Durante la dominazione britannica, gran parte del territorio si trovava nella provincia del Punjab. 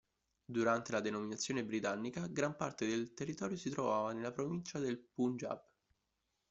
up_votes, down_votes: 0, 2